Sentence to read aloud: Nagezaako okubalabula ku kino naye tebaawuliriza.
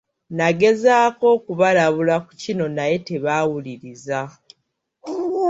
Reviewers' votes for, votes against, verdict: 2, 0, accepted